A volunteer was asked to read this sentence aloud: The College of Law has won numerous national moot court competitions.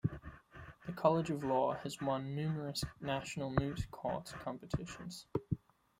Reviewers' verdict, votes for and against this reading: rejected, 1, 2